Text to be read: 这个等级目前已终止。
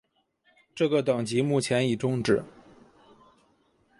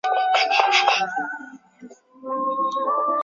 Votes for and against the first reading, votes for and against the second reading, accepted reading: 5, 0, 0, 2, first